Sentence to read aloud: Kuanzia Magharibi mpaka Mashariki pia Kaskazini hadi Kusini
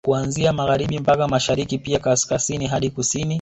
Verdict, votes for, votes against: rejected, 0, 2